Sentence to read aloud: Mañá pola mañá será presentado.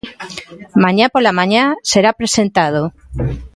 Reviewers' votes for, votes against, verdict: 2, 0, accepted